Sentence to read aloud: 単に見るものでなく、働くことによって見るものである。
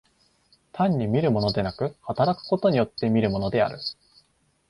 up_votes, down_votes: 2, 0